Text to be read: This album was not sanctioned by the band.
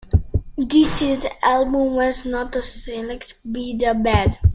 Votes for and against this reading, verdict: 0, 2, rejected